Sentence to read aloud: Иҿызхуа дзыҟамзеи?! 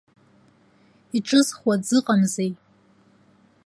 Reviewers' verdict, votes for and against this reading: accepted, 4, 0